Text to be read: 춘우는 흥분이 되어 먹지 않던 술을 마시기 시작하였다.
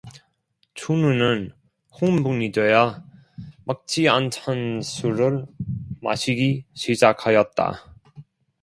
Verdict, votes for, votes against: rejected, 1, 2